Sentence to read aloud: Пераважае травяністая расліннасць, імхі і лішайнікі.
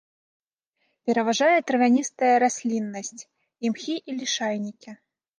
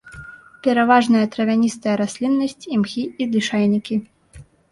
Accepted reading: first